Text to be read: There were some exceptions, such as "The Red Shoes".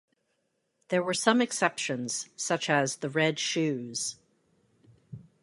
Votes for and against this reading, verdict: 2, 0, accepted